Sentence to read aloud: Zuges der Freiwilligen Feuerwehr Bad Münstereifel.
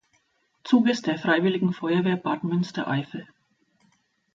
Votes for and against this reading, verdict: 2, 0, accepted